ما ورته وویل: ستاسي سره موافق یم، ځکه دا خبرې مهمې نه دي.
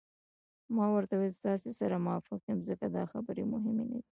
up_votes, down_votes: 2, 0